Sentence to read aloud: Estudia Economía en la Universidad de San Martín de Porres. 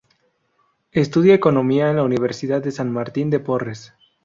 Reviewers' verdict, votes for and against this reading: rejected, 0, 2